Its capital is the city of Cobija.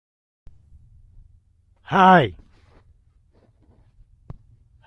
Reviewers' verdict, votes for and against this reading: rejected, 0, 2